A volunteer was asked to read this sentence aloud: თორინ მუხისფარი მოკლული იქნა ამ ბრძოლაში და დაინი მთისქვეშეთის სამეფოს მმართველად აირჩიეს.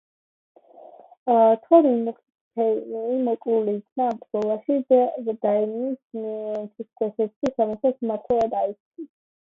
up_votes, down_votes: 0, 2